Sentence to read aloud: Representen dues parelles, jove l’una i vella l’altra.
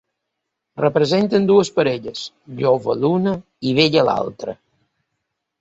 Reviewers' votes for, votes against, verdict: 2, 0, accepted